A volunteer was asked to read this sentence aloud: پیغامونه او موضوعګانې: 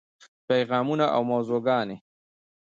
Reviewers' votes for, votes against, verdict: 2, 1, accepted